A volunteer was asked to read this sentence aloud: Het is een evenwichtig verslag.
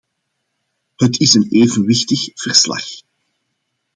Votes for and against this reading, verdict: 2, 0, accepted